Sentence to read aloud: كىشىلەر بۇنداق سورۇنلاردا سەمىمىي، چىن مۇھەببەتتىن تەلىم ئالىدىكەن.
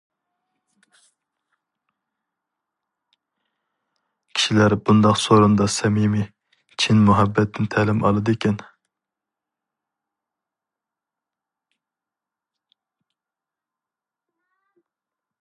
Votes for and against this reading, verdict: 2, 2, rejected